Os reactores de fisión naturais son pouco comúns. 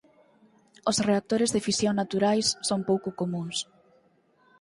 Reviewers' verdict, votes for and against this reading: accepted, 4, 0